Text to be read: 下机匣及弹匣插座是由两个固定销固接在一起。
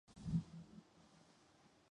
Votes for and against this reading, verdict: 0, 2, rejected